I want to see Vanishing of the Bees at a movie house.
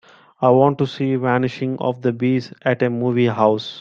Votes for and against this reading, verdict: 2, 0, accepted